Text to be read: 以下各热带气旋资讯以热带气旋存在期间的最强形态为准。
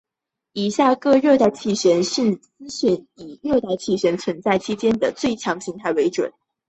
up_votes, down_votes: 2, 0